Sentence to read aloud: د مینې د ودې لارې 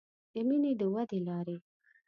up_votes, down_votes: 2, 1